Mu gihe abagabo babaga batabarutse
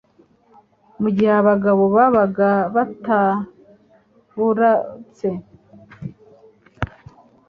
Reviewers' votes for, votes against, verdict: 1, 2, rejected